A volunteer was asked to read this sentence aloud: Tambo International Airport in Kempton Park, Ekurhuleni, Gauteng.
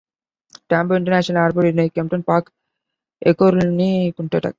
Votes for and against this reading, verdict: 0, 2, rejected